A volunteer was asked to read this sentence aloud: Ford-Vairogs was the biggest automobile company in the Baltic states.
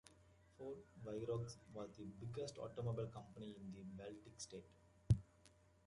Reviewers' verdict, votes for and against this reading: rejected, 0, 2